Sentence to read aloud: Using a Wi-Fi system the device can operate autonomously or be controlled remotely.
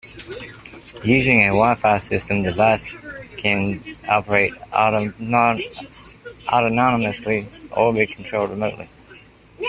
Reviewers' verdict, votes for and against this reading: rejected, 0, 2